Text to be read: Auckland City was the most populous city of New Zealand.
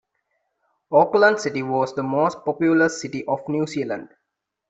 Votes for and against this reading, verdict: 2, 0, accepted